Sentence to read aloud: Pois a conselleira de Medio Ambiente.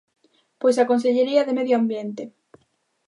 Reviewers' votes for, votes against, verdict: 0, 2, rejected